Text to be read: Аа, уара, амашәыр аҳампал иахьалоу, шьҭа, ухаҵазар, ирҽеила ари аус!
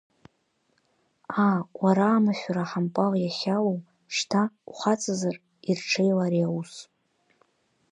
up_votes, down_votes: 4, 0